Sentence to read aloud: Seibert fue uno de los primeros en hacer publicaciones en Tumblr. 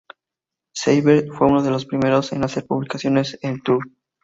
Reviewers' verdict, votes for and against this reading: accepted, 2, 0